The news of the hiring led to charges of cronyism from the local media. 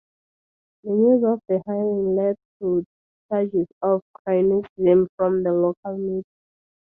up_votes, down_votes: 0, 4